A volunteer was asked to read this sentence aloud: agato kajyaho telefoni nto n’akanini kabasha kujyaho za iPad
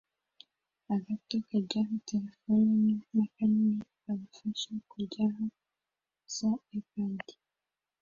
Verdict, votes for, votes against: rejected, 0, 2